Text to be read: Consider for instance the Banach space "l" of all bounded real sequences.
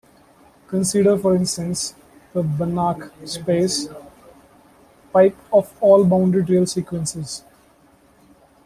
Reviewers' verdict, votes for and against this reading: accepted, 2, 1